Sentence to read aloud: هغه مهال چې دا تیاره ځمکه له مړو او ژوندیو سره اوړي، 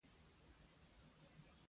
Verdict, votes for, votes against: rejected, 0, 2